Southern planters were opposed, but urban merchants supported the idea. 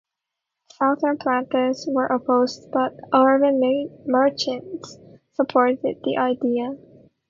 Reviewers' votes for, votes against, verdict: 0, 2, rejected